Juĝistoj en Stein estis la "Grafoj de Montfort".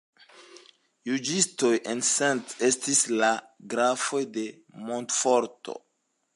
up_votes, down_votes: 1, 2